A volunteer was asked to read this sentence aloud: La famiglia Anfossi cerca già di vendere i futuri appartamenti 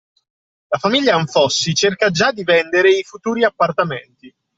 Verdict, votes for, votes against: accepted, 2, 0